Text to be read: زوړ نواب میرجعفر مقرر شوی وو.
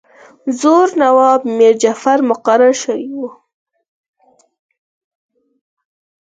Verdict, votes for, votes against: accepted, 4, 2